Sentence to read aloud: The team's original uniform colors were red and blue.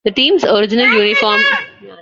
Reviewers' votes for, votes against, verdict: 0, 2, rejected